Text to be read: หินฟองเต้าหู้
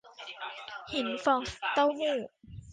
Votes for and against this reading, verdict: 2, 1, accepted